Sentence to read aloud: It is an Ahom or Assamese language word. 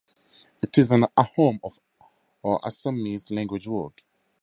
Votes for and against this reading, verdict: 0, 2, rejected